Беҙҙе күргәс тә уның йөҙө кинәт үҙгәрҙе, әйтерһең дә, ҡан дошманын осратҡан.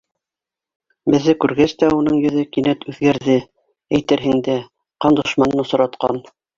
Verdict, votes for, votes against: accepted, 3, 0